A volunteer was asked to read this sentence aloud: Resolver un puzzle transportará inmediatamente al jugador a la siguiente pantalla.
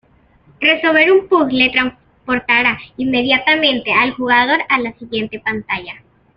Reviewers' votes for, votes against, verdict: 2, 0, accepted